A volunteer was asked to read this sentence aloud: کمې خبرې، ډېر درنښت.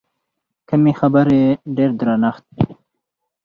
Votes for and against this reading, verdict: 2, 4, rejected